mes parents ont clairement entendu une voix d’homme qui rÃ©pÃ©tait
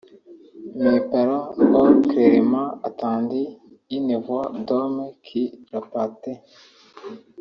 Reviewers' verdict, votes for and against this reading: rejected, 0, 2